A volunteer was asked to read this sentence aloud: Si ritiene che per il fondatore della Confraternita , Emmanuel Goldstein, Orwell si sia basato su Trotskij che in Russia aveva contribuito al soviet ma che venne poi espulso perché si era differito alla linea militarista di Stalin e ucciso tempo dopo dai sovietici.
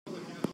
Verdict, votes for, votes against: rejected, 0, 2